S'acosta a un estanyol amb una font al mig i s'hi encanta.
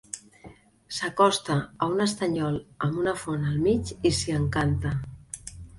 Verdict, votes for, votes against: accepted, 2, 0